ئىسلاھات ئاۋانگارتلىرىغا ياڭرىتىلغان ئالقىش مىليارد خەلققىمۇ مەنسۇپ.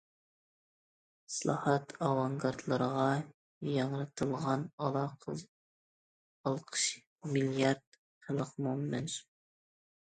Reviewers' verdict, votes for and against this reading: rejected, 0, 2